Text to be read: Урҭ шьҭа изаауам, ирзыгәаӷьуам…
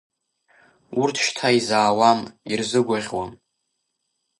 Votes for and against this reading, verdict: 2, 0, accepted